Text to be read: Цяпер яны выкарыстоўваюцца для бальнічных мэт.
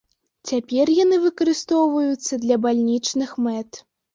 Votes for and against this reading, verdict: 2, 0, accepted